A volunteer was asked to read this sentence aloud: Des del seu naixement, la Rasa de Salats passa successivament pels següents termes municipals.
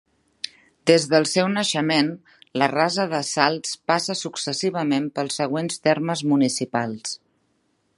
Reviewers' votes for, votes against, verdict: 1, 2, rejected